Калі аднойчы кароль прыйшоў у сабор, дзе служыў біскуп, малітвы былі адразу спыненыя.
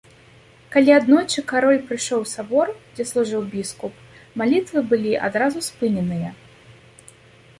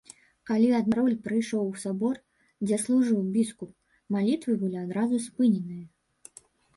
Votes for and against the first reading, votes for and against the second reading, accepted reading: 3, 0, 0, 2, first